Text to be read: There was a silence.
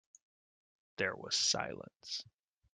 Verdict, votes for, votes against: rejected, 0, 2